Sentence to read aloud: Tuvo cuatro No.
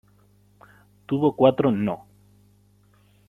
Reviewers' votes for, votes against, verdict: 2, 1, accepted